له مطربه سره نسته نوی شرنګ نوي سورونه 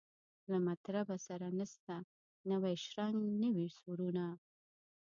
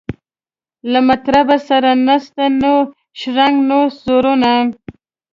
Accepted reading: first